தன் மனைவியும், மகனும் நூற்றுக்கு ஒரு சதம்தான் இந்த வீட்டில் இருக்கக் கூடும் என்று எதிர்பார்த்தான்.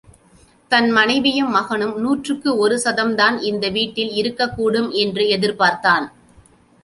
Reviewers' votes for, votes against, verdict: 2, 0, accepted